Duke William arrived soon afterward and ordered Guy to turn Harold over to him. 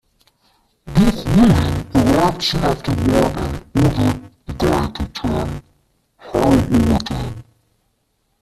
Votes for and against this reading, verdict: 0, 2, rejected